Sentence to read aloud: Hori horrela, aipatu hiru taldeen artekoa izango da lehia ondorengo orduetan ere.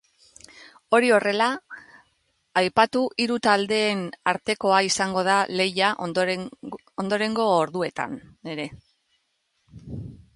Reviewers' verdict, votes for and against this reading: rejected, 0, 2